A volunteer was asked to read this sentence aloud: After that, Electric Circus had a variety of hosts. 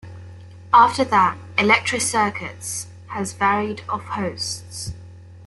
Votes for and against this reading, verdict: 0, 2, rejected